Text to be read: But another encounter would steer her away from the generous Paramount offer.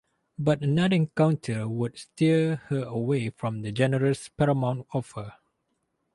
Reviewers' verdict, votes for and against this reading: rejected, 2, 2